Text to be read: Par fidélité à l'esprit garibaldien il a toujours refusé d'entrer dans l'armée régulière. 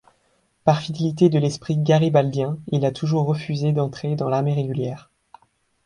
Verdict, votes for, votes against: rejected, 1, 2